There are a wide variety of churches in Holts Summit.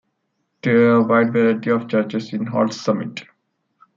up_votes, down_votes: 0, 2